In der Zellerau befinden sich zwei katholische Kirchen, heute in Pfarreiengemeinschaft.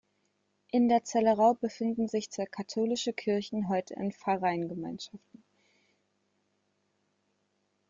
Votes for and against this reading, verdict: 1, 2, rejected